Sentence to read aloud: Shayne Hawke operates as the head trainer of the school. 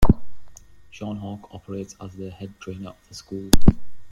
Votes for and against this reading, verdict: 0, 2, rejected